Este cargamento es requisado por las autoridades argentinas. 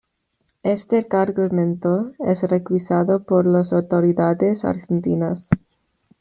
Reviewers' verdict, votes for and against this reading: accepted, 2, 0